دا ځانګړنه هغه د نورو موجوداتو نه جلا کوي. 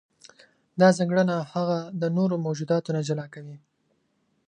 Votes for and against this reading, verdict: 2, 0, accepted